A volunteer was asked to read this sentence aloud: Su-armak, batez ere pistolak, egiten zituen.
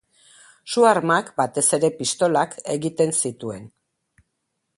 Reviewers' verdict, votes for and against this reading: accepted, 2, 0